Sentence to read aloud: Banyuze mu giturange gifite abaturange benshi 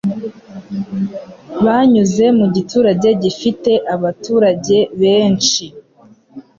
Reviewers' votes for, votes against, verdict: 3, 0, accepted